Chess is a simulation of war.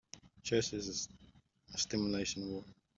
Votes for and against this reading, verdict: 0, 3, rejected